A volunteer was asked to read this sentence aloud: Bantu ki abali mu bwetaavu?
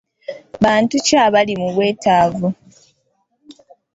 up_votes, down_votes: 2, 0